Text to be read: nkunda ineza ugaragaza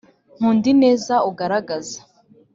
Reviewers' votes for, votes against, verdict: 3, 0, accepted